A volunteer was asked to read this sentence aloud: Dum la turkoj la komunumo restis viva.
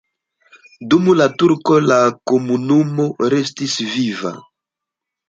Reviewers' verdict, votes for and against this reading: rejected, 1, 2